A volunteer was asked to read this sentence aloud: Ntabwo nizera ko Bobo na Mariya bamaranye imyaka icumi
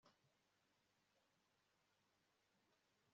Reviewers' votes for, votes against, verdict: 1, 2, rejected